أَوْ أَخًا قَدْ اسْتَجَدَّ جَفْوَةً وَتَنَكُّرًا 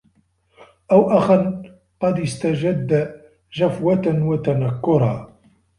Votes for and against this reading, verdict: 1, 2, rejected